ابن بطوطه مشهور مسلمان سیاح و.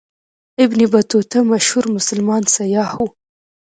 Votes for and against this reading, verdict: 2, 0, accepted